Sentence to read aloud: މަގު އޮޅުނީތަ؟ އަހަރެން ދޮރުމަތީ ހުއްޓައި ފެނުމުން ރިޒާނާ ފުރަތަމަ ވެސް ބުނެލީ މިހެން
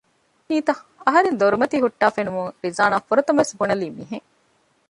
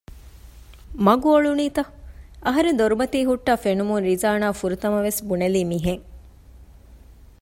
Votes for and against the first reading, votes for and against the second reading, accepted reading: 0, 2, 2, 0, second